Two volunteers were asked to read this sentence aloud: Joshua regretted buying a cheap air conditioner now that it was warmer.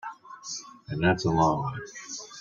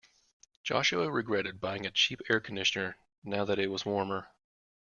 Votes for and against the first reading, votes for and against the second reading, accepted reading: 0, 2, 2, 0, second